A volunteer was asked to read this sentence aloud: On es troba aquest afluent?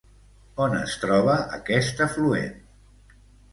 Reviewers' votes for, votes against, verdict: 1, 2, rejected